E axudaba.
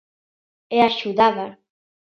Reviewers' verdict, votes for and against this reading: accepted, 2, 0